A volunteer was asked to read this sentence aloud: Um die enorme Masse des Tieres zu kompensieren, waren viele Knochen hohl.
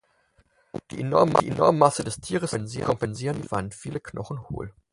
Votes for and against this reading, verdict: 0, 4, rejected